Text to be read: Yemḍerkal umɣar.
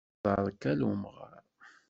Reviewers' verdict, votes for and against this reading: rejected, 1, 2